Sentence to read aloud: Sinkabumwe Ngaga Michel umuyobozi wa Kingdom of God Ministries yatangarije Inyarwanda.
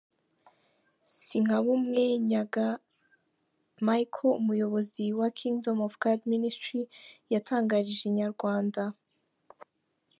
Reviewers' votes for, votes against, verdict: 0, 2, rejected